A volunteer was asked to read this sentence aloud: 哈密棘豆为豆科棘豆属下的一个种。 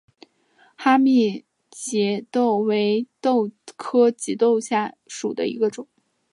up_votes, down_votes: 5, 2